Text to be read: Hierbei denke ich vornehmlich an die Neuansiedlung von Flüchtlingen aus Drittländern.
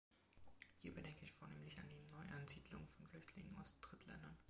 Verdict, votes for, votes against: accepted, 2, 1